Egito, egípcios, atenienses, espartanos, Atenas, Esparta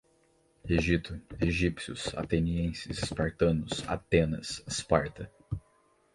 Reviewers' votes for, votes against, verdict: 2, 2, rejected